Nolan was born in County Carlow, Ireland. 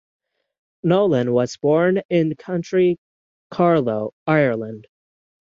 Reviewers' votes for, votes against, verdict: 0, 3, rejected